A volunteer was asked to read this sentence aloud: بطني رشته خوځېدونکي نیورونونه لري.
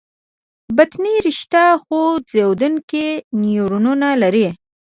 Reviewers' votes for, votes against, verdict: 0, 2, rejected